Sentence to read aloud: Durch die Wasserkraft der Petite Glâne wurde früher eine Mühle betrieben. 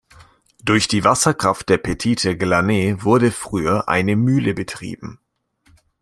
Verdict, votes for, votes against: rejected, 1, 2